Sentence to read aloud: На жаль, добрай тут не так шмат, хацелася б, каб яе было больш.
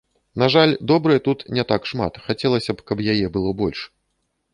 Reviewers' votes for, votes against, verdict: 2, 0, accepted